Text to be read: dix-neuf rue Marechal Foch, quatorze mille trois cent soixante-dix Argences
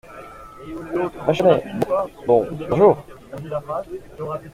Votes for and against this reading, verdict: 0, 2, rejected